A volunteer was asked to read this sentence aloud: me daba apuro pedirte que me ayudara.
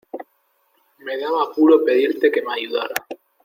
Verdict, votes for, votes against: accepted, 2, 0